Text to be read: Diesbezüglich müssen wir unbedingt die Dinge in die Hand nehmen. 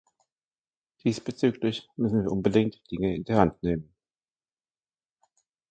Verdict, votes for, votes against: rejected, 1, 2